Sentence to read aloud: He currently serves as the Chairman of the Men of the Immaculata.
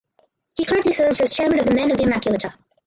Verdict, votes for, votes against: rejected, 0, 2